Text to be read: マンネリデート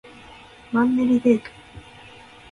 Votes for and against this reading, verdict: 1, 2, rejected